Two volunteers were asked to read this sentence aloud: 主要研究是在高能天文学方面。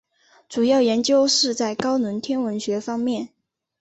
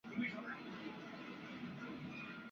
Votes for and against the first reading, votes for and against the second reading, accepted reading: 3, 0, 0, 2, first